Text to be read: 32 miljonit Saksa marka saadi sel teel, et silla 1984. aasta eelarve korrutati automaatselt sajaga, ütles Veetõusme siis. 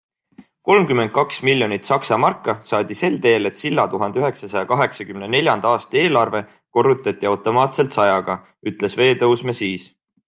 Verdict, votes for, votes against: rejected, 0, 2